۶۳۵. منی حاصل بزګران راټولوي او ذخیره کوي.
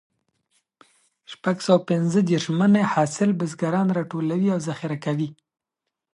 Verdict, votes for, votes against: rejected, 0, 2